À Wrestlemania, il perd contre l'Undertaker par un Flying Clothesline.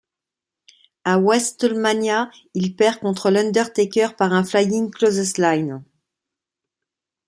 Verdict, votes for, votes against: accepted, 2, 1